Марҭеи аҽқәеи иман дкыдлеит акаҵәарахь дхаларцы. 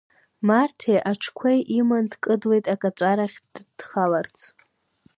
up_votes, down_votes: 1, 2